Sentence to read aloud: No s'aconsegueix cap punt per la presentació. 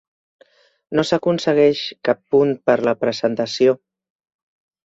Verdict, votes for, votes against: rejected, 1, 2